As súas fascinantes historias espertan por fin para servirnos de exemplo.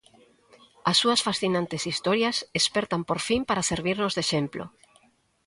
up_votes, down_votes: 2, 0